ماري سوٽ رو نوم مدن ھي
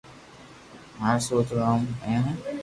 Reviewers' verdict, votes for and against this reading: accepted, 2, 0